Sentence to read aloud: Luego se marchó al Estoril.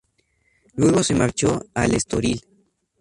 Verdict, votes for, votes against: accepted, 2, 0